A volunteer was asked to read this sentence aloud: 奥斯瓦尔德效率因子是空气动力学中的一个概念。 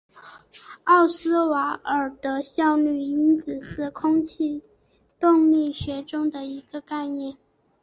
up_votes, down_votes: 4, 0